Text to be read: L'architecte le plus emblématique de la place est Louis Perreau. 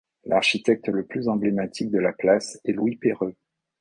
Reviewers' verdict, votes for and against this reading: rejected, 1, 2